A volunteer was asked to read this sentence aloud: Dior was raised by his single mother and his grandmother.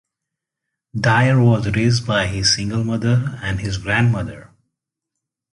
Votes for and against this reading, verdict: 2, 0, accepted